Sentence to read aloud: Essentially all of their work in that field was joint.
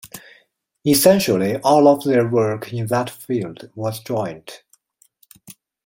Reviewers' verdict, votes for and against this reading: accepted, 2, 0